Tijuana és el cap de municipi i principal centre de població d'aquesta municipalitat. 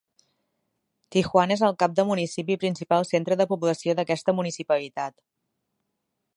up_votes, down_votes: 1, 2